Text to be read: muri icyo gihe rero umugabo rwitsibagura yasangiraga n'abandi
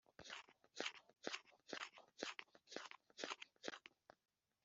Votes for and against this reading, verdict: 0, 2, rejected